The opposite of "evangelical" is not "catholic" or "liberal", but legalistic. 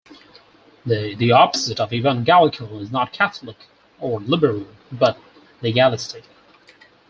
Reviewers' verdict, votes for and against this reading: rejected, 0, 4